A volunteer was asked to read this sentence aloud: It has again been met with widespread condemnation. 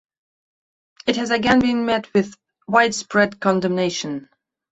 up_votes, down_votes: 2, 0